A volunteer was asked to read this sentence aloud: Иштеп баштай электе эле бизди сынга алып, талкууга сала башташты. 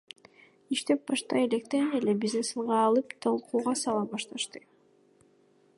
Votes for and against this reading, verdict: 0, 2, rejected